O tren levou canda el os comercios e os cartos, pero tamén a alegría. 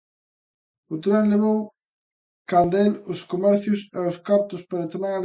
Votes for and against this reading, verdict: 0, 2, rejected